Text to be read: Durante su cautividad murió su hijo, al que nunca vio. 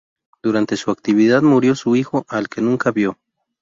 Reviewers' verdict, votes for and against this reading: rejected, 0, 2